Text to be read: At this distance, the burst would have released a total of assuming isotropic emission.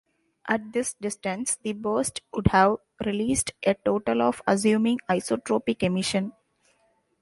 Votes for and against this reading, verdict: 0, 2, rejected